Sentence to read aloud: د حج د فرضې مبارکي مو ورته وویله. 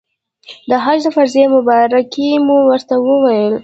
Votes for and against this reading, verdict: 1, 2, rejected